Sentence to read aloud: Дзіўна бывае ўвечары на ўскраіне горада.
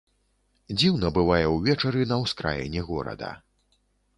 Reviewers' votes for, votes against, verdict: 2, 0, accepted